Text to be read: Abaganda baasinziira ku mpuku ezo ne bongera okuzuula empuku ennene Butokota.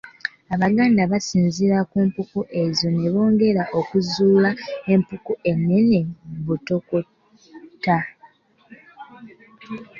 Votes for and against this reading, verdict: 1, 2, rejected